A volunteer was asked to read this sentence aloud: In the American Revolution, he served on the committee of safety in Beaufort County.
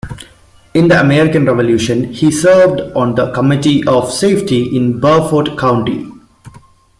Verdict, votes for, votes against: accepted, 2, 0